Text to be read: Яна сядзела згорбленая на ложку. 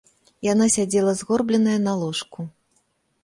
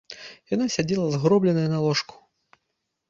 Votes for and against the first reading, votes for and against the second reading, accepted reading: 2, 0, 0, 2, first